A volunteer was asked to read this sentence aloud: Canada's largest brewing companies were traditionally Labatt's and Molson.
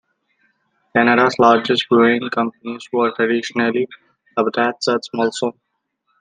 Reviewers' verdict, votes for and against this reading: accepted, 2, 1